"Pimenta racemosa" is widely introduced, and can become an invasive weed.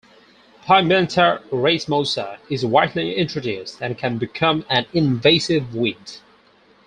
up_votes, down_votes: 0, 2